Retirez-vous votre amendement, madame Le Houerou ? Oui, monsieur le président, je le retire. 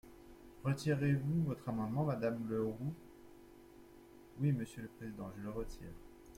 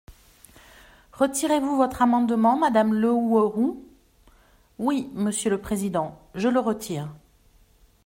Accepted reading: second